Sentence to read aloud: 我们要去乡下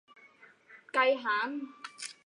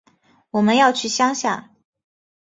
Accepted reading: second